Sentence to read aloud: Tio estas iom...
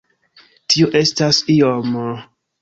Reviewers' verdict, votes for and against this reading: rejected, 0, 2